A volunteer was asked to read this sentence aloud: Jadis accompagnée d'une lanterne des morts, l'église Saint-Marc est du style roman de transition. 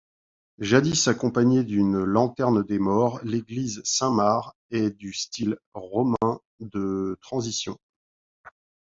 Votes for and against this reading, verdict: 2, 1, accepted